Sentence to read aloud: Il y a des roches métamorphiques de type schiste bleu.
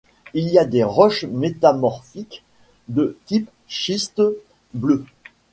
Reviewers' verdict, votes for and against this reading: accepted, 2, 0